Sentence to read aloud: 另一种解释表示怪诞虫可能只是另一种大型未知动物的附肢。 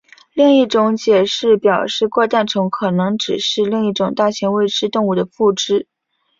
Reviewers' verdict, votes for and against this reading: accepted, 2, 1